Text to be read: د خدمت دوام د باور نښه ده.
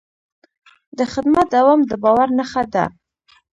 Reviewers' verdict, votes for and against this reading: rejected, 0, 2